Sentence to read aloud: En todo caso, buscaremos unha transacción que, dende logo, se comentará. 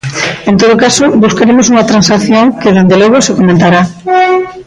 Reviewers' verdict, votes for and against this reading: rejected, 0, 2